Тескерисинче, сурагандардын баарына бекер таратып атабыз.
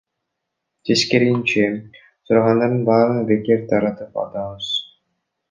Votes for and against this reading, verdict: 0, 2, rejected